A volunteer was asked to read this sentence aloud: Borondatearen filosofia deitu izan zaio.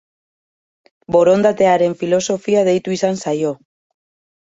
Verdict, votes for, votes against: accepted, 2, 0